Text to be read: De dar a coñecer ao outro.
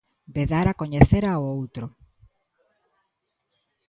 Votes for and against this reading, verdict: 2, 0, accepted